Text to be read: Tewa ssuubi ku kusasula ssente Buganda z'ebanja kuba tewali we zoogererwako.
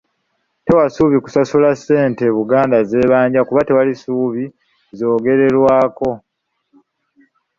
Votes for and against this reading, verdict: 1, 2, rejected